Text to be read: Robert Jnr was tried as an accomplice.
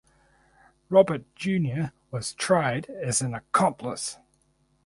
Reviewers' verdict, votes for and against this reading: accepted, 4, 0